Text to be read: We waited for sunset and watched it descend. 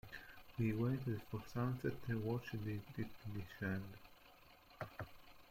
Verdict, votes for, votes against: rejected, 0, 2